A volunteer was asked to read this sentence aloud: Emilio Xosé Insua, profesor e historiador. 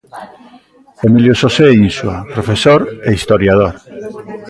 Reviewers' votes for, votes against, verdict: 1, 2, rejected